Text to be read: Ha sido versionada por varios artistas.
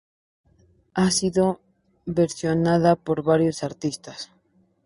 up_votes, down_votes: 2, 0